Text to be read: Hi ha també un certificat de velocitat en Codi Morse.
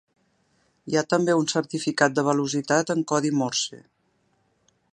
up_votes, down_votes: 3, 1